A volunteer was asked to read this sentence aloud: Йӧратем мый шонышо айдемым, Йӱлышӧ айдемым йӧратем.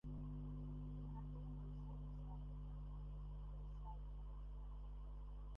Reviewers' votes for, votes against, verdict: 0, 2, rejected